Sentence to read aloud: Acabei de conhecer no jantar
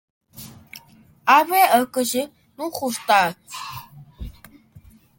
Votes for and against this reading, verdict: 1, 2, rejected